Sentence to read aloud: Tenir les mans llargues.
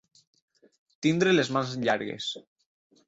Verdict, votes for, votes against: rejected, 0, 4